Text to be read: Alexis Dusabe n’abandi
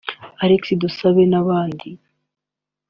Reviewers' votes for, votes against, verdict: 2, 1, accepted